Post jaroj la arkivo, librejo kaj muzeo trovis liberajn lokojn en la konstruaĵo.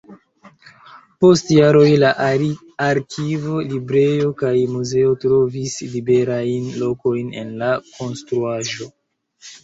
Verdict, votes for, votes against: rejected, 0, 3